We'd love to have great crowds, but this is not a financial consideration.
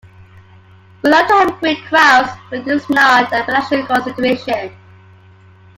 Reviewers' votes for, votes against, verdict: 0, 2, rejected